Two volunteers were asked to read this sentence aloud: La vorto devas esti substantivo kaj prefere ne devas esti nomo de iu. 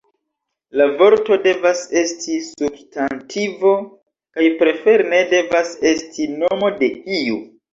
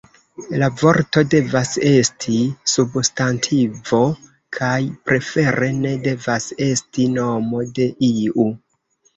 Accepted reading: first